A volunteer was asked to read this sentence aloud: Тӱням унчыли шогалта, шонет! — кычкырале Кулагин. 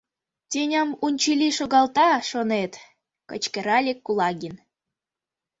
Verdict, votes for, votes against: rejected, 1, 2